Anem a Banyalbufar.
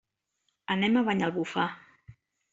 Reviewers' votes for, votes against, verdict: 3, 0, accepted